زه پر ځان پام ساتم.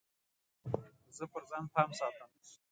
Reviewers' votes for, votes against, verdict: 2, 0, accepted